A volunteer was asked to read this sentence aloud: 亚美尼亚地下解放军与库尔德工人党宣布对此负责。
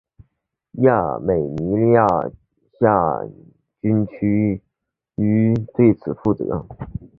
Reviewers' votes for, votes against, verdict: 0, 3, rejected